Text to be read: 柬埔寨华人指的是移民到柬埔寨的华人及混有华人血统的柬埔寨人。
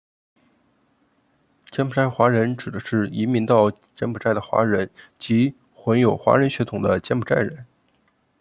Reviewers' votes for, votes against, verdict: 2, 1, accepted